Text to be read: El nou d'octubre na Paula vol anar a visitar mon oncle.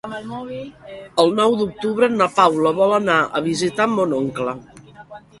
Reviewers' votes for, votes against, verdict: 2, 1, accepted